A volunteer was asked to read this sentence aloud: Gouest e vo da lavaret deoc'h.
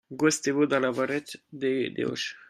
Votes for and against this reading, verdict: 0, 2, rejected